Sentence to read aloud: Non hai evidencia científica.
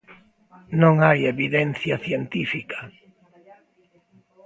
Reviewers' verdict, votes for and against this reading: accepted, 2, 0